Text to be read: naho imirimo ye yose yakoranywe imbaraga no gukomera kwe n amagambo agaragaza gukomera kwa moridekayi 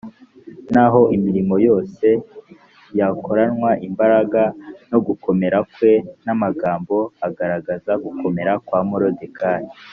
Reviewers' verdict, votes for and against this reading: rejected, 0, 2